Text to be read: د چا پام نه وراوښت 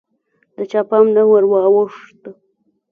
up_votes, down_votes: 1, 2